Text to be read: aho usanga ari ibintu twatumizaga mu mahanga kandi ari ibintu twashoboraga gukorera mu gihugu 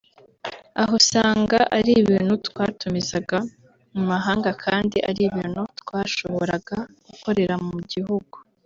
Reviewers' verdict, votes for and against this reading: accepted, 3, 1